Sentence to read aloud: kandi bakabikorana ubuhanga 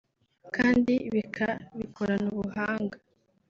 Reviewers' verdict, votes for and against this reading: rejected, 1, 3